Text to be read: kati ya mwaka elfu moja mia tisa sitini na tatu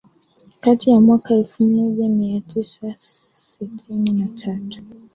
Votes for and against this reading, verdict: 1, 2, rejected